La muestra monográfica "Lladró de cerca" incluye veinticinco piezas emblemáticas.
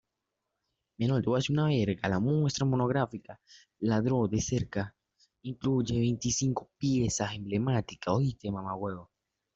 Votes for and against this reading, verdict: 0, 2, rejected